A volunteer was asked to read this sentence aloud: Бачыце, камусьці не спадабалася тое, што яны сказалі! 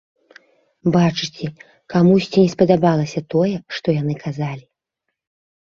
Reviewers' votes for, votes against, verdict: 1, 2, rejected